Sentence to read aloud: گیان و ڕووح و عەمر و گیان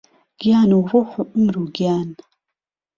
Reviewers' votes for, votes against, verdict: 0, 2, rejected